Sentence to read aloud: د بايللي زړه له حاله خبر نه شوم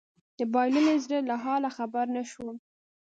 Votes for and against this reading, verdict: 3, 0, accepted